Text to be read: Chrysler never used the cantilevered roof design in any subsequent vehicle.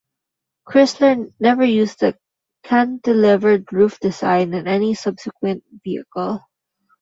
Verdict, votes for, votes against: rejected, 0, 2